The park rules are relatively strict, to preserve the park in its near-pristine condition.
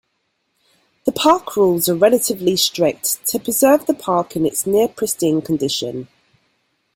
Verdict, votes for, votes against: accepted, 2, 0